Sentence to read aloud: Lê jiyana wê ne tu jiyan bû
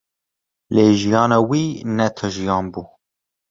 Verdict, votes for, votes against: rejected, 1, 2